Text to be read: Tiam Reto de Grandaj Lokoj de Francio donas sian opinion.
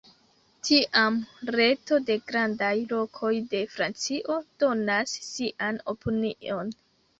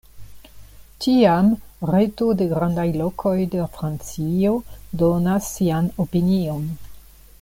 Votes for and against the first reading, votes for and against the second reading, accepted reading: 1, 2, 2, 0, second